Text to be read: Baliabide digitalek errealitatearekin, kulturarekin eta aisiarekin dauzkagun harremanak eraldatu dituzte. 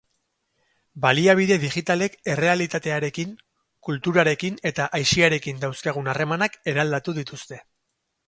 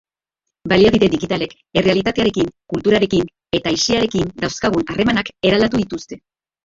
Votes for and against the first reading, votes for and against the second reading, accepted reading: 2, 0, 0, 2, first